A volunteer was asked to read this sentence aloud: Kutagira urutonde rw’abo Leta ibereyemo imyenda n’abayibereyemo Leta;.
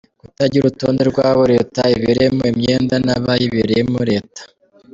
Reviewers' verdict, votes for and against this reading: rejected, 1, 2